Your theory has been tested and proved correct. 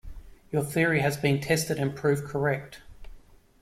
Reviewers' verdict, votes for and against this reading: accepted, 2, 0